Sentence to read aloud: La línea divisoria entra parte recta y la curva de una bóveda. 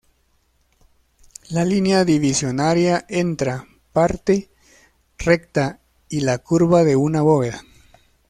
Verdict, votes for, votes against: accepted, 2, 0